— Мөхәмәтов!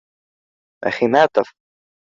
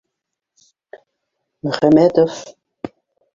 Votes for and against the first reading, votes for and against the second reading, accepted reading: 1, 2, 2, 1, second